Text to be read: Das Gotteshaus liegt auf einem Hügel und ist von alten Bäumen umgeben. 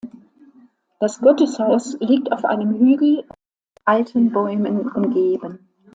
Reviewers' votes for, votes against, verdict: 0, 2, rejected